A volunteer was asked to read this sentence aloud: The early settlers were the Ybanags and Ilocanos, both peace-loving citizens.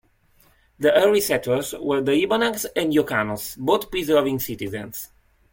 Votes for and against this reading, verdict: 0, 2, rejected